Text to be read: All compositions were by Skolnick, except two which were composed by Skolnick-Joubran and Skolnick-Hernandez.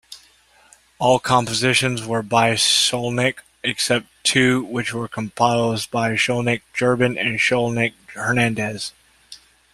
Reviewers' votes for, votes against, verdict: 2, 0, accepted